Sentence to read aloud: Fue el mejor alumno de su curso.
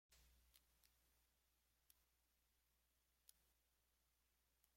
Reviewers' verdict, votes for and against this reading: rejected, 0, 2